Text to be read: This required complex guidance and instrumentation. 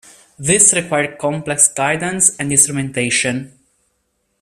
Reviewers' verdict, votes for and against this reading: accepted, 2, 0